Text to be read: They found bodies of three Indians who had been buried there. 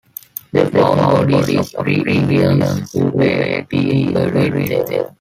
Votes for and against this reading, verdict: 1, 2, rejected